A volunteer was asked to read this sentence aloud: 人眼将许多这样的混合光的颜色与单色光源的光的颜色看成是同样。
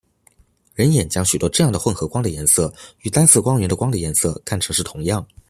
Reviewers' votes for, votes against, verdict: 2, 0, accepted